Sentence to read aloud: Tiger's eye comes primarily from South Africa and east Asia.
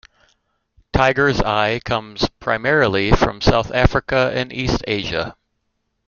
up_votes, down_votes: 2, 0